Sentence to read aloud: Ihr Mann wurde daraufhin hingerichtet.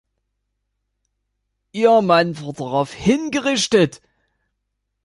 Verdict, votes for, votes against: rejected, 0, 2